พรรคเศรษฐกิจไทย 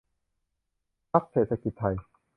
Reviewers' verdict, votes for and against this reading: accepted, 2, 0